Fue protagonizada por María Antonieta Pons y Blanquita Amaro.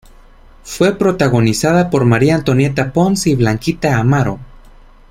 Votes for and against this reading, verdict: 3, 1, accepted